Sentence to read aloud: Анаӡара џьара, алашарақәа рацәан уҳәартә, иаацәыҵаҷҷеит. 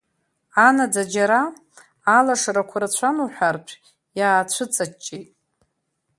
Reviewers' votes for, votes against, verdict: 4, 0, accepted